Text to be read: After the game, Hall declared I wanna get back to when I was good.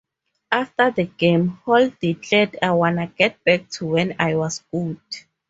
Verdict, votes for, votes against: rejected, 2, 2